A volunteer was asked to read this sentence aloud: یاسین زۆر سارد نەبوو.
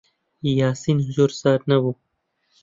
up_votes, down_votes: 2, 1